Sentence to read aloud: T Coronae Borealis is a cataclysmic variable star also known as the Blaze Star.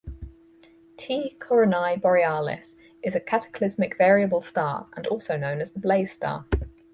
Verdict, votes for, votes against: rejected, 0, 2